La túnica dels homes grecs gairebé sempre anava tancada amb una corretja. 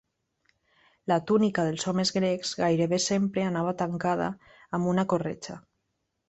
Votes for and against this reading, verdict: 3, 0, accepted